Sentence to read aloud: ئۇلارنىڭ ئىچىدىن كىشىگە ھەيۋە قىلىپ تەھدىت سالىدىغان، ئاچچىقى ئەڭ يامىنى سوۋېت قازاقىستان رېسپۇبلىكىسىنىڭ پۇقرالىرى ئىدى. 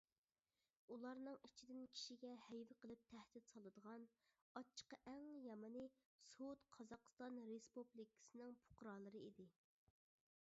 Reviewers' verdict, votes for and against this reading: rejected, 0, 2